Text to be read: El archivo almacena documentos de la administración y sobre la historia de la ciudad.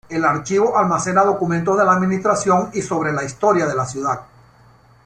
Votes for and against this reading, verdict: 2, 0, accepted